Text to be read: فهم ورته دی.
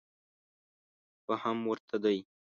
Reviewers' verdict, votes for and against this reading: accepted, 2, 0